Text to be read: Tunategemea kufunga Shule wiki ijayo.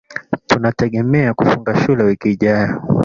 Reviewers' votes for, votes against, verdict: 1, 2, rejected